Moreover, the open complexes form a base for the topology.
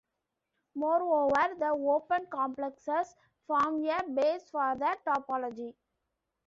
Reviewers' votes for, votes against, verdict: 0, 2, rejected